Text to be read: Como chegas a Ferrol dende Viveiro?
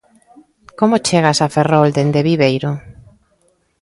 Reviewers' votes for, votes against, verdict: 1, 2, rejected